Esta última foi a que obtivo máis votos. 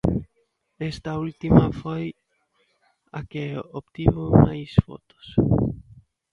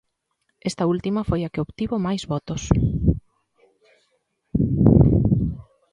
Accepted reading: second